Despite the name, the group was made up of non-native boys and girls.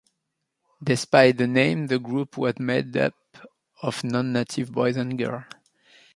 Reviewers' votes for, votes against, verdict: 1, 2, rejected